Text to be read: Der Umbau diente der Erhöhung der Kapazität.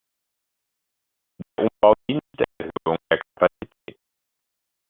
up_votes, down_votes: 0, 2